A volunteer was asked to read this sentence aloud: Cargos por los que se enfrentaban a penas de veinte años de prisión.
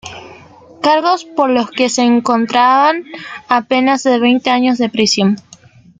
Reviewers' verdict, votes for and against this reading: rejected, 1, 2